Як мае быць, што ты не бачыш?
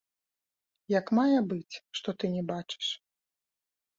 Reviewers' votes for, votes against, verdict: 1, 2, rejected